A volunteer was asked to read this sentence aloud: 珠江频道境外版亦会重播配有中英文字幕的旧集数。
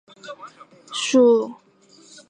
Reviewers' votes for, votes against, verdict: 2, 0, accepted